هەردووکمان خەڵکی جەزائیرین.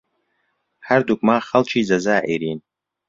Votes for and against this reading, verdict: 2, 0, accepted